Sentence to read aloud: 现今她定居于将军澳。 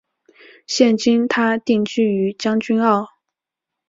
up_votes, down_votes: 6, 0